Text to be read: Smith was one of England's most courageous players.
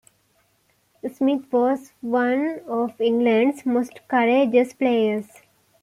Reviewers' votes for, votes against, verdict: 2, 0, accepted